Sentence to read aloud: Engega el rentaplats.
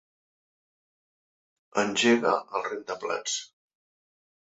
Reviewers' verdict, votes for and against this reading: accepted, 3, 0